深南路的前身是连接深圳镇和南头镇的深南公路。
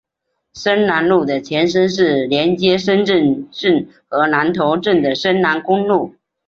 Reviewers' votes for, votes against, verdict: 4, 0, accepted